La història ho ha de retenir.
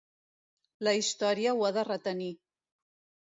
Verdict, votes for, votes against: accepted, 2, 0